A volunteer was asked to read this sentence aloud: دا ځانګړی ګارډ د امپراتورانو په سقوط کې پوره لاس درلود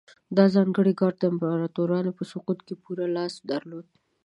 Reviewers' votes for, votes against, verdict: 2, 1, accepted